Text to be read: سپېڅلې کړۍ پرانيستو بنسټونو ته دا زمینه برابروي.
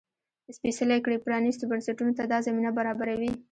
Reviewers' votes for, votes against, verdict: 0, 2, rejected